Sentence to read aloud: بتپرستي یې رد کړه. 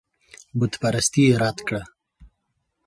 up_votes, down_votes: 2, 0